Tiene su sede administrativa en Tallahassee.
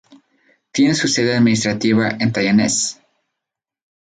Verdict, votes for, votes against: rejected, 0, 2